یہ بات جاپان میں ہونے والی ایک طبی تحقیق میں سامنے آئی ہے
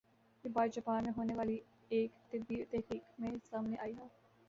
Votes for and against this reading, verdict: 2, 0, accepted